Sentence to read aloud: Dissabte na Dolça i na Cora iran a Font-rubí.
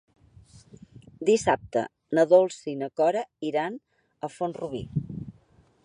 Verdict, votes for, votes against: accepted, 4, 0